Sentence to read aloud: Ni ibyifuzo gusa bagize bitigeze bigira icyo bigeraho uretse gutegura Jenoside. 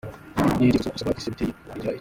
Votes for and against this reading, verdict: 0, 2, rejected